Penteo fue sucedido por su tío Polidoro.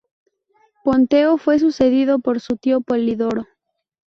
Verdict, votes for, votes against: rejected, 0, 2